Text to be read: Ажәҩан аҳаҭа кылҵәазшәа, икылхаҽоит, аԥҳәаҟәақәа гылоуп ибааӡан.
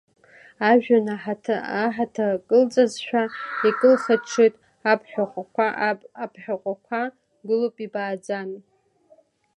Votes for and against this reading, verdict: 0, 2, rejected